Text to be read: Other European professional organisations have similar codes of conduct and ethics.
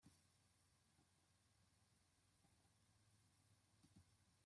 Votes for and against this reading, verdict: 0, 2, rejected